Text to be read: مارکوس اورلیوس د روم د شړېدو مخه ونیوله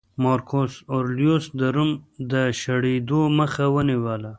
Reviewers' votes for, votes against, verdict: 1, 2, rejected